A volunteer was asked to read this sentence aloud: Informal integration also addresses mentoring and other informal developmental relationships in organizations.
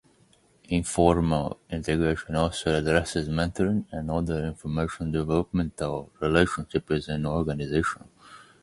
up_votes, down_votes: 0, 2